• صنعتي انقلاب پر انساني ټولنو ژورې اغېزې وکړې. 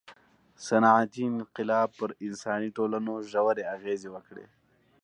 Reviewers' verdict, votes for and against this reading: accepted, 2, 0